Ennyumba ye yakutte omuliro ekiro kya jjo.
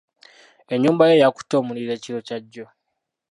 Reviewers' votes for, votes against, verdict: 2, 1, accepted